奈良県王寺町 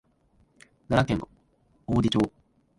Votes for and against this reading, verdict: 1, 2, rejected